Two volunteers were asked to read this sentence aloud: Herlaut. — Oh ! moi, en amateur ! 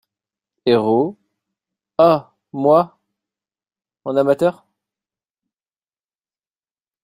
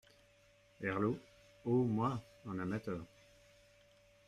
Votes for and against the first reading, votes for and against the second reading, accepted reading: 1, 2, 2, 1, second